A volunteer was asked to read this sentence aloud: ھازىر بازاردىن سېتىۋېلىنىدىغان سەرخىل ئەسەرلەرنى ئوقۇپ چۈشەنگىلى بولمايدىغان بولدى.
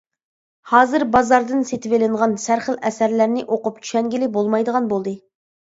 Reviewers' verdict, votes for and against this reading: rejected, 0, 2